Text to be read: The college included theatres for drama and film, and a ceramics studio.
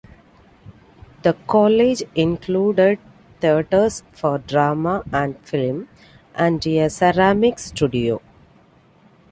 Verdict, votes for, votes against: accepted, 2, 1